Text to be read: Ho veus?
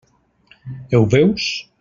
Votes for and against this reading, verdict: 0, 2, rejected